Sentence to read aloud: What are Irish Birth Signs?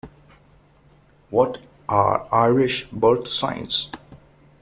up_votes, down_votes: 2, 0